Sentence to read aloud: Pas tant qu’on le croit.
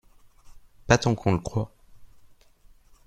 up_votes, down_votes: 2, 0